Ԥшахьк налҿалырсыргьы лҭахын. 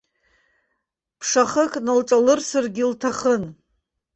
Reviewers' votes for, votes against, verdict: 0, 3, rejected